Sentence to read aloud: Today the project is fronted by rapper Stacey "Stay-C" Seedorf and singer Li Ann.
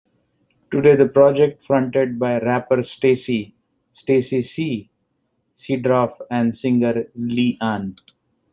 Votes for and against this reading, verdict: 2, 1, accepted